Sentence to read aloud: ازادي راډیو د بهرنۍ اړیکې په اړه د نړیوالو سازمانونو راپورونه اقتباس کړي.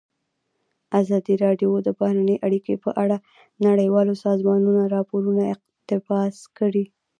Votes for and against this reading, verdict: 1, 2, rejected